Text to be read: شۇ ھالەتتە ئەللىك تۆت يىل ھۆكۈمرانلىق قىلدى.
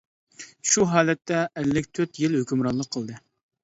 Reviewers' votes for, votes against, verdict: 2, 0, accepted